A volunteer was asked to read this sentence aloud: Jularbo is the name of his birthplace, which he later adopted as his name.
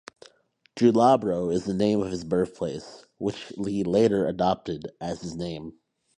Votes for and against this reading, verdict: 0, 2, rejected